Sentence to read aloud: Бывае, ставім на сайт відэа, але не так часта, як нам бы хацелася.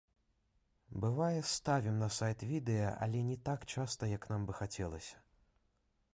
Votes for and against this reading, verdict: 2, 0, accepted